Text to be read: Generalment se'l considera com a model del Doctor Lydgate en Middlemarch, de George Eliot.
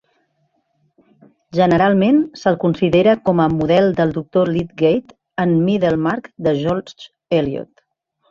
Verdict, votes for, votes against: accepted, 2, 0